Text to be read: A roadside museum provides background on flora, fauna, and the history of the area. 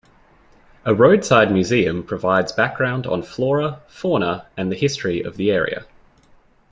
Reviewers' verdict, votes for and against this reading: accepted, 2, 0